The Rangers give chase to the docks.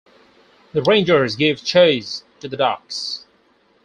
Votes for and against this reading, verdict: 4, 0, accepted